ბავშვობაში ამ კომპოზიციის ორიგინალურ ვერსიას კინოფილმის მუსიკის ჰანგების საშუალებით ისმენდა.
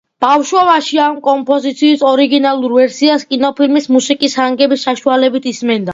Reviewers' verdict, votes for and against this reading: accepted, 2, 1